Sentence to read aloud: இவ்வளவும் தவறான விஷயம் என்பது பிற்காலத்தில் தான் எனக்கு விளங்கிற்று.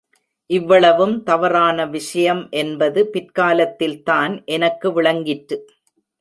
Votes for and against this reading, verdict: 0, 2, rejected